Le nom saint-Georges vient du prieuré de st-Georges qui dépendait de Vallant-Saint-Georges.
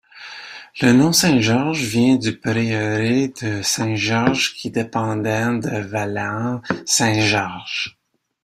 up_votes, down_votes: 2, 0